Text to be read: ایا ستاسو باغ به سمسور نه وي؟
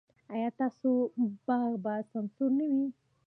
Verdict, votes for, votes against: accepted, 2, 1